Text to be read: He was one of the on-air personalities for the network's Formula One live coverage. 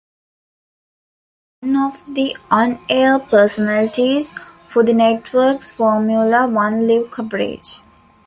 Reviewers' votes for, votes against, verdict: 0, 2, rejected